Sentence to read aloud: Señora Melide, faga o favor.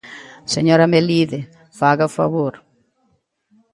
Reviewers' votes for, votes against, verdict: 2, 0, accepted